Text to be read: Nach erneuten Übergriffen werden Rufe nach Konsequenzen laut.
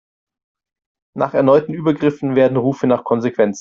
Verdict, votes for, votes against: rejected, 0, 2